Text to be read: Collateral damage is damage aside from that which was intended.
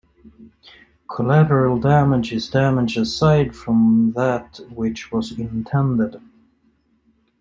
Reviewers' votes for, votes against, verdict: 2, 0, accepted